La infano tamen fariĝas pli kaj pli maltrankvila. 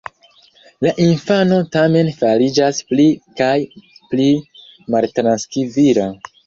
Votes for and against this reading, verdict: 1, 2, rejected